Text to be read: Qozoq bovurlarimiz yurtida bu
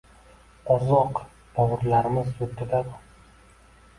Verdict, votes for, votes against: rejected, 0, 2